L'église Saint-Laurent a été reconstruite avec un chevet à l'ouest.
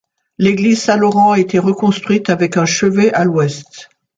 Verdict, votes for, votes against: accepted, 2, 0